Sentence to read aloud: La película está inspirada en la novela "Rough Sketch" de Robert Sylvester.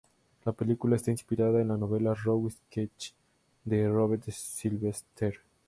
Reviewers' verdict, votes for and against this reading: accepted, 2, 0